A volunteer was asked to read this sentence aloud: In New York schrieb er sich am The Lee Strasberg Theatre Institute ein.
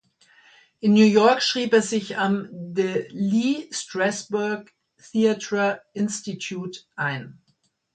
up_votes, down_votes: 2, 1